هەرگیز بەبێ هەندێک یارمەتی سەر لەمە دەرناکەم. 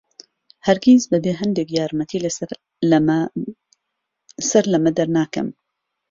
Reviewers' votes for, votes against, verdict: 0, 2, rejected